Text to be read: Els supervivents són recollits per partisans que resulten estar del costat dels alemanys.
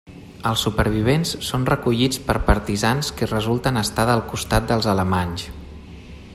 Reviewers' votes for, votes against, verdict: 1, 2, rejected